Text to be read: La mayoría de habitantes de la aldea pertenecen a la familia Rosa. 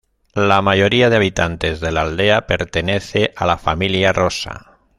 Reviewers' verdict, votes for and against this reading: rejected, 1, 2